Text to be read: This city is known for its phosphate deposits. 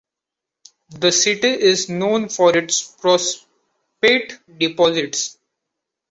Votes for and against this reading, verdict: 2, 1, accepted